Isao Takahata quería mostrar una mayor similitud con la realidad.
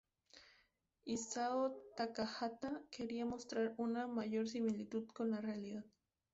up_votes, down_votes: 0, 2